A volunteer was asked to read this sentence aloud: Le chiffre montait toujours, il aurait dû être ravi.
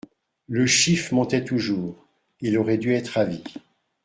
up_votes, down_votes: 2, 0